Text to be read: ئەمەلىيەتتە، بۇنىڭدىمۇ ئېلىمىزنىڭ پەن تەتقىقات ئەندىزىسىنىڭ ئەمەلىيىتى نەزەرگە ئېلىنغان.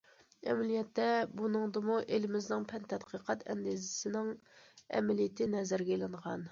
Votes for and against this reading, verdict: 2, 0, accepted